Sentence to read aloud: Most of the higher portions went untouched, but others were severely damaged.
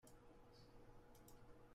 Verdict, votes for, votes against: rejected, 0, 2